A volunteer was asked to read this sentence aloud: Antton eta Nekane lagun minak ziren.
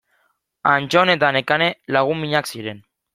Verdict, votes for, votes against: accepted, 2, 0